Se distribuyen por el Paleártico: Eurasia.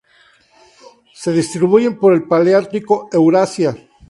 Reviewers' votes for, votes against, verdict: 0, 2, rejected